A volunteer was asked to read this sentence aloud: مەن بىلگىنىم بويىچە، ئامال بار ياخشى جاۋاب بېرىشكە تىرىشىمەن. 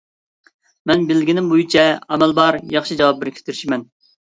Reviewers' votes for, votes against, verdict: 2, 0, accepted